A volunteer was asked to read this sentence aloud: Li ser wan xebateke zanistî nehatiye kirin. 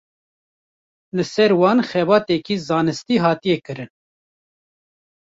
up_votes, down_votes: 1, 2